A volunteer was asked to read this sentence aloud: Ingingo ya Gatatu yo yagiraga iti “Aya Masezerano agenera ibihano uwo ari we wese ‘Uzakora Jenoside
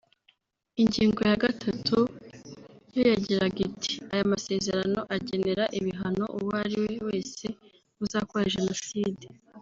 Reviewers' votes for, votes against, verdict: 1, 2, rejected